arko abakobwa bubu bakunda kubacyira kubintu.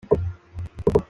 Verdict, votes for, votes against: rejected, 0, 2